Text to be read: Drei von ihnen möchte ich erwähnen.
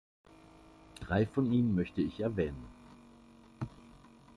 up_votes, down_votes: 2, 1